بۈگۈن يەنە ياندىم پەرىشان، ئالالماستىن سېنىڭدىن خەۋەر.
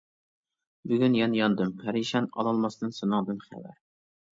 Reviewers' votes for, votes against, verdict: 2, 1, accepted